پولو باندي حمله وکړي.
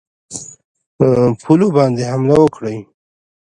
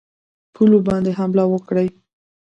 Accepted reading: first